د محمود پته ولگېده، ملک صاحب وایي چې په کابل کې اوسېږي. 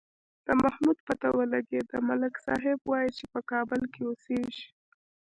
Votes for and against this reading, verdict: 2, 0, accepted